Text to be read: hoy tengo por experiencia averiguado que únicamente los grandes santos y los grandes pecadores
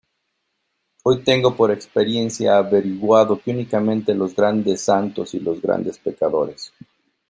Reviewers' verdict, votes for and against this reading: accepted, 2, 0